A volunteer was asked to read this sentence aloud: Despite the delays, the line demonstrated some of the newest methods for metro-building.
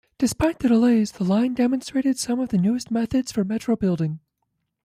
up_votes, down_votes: 3, 0